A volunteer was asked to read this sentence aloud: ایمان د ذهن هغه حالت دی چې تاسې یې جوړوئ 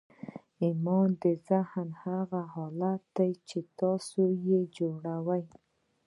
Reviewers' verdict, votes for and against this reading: accepted, 2, 0